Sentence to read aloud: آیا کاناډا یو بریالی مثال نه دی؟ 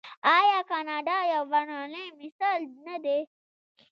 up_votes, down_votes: 0, 2